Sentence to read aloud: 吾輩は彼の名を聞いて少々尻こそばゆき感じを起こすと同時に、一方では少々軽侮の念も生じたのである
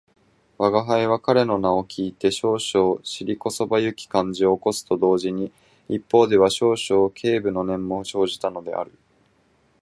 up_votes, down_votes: 2, 0